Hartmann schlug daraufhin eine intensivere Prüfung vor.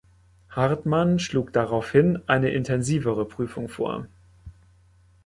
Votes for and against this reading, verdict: 2, 0, accepted